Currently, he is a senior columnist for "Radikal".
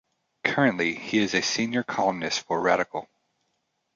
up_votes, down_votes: 2, 0